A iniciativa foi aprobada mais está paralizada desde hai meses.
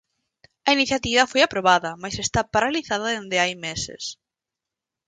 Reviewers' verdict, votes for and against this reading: rejected, 0, 4